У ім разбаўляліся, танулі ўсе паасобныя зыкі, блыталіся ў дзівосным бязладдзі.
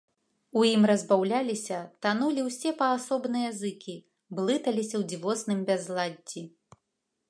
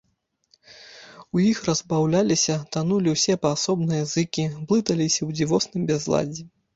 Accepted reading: first